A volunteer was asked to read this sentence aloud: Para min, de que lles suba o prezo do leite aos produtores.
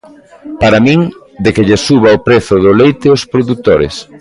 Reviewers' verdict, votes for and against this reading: accepted, 2, 0